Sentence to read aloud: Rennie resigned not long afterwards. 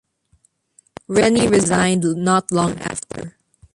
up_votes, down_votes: 0, 2